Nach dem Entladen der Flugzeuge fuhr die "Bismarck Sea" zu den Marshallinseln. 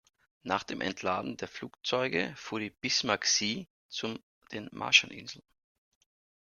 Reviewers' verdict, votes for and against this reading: accepted, 2, 0